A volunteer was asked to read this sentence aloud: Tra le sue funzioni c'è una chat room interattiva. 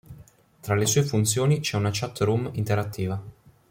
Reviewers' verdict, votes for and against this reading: accepted, 2, 0